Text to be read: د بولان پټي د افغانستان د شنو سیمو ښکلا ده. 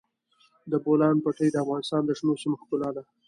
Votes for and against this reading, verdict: 2, 0, accepted